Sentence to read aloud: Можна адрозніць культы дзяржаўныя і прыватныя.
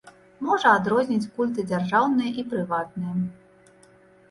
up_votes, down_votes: 1, 2